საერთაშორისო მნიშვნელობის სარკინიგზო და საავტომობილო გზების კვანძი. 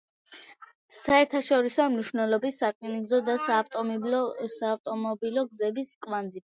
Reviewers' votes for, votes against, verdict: 2, 0, accepted